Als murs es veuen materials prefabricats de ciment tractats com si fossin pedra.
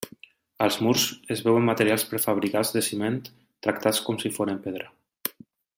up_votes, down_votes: 2, 1